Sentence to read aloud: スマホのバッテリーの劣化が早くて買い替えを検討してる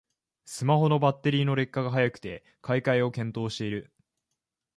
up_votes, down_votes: 1, 2